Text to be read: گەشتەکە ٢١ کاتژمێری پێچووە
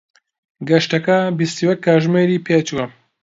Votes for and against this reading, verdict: 0, 2, rejected